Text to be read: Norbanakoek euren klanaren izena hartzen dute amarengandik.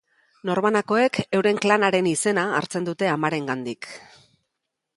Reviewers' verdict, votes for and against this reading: accepted, 3, 0